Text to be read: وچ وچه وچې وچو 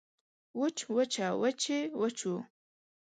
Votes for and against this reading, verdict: 2, 0, accepted